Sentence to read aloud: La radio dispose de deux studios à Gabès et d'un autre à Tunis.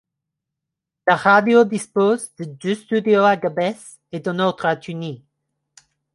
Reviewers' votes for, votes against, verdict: 2, 0, accepted